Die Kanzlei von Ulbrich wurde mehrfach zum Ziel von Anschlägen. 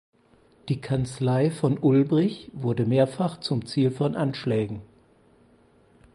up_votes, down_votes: 4, 0